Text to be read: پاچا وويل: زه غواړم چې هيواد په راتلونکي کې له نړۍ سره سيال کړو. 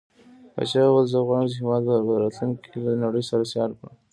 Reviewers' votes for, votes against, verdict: 0, 2, rejected